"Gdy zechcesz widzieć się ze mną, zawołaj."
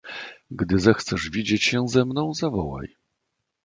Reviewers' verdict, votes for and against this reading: accepted, 2, 0